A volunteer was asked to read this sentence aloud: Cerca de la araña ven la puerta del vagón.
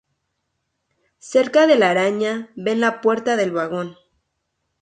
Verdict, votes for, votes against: accepted, 4, 0